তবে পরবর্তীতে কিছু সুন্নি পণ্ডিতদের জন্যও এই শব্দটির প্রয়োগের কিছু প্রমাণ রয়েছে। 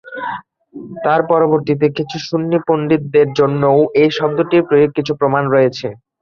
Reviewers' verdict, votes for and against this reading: rejected, 0, 3